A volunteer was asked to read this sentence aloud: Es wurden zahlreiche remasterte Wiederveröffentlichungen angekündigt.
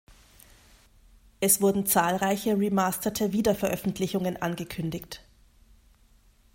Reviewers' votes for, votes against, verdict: 2, 0, accepted